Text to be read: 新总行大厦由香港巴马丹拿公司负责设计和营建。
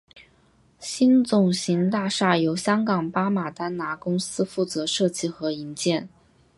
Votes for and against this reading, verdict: 3, 0, accepted